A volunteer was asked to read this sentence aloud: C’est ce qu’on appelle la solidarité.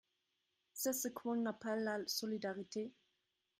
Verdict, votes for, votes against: rejected, 0, 2